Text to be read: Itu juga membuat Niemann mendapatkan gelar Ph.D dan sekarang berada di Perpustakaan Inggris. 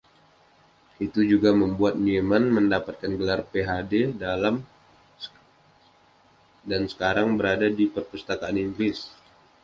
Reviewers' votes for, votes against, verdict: 1, 2, rejected